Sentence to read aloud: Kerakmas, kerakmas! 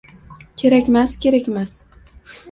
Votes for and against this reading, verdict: 1, 2, rejected